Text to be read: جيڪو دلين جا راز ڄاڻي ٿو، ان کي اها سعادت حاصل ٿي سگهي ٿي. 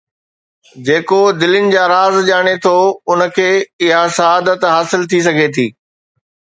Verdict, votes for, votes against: accepted, 2, 0